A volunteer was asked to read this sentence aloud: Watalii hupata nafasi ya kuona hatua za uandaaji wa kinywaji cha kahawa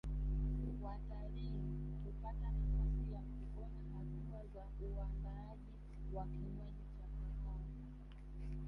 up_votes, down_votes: 1, 2